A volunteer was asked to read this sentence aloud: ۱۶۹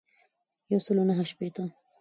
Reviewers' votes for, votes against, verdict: 0, 2, rejected